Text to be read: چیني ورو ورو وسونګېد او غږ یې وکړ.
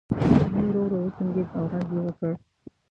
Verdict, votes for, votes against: rejected, 1, 2